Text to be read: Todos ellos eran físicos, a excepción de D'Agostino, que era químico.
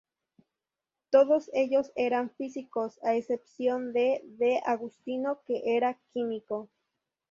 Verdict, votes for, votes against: rejected, 0, 2